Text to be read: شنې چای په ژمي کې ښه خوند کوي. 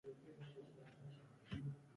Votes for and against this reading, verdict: 0, 2, rejected